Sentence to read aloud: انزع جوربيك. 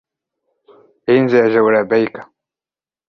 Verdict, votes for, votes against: rejected, 0, 2